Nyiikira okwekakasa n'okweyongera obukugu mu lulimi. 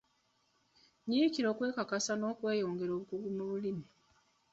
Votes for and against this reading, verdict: 2, 0, accepted